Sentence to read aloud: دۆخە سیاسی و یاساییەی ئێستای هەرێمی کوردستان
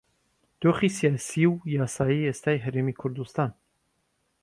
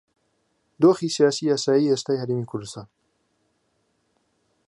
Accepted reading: second